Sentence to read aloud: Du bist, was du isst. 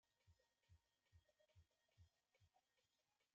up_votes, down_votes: 0, 4